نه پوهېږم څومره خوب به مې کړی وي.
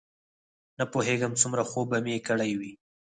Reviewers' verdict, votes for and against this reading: accepted, 4, 2